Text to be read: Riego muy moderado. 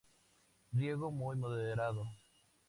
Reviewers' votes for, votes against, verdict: 2, 0, accepted